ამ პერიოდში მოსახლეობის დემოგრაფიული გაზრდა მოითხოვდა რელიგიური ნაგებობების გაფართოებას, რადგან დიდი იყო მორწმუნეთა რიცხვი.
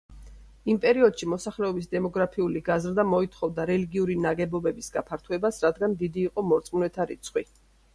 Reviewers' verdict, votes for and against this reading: rejected, 1, 2